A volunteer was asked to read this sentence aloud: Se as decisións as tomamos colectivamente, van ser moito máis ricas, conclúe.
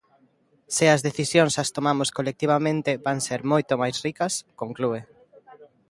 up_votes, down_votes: 1, 2